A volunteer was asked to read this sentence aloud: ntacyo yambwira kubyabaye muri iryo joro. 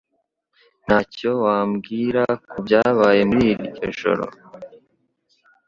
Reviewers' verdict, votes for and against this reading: rejected, 1, 2